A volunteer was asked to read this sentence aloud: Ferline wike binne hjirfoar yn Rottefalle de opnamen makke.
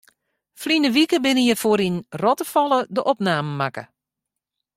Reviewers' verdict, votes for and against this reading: accepted, 2, 0